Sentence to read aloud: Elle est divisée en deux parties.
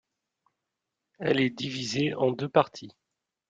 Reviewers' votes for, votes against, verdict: 2, 0, accepted